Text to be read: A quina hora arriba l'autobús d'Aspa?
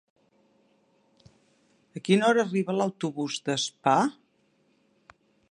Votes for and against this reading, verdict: 2, 0, accepted